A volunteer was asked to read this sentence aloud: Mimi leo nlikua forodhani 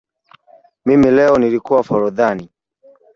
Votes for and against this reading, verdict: 1, 2, rejected